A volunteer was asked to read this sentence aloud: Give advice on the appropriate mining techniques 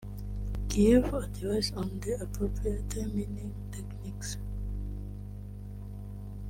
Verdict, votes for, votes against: rejected, 0, 2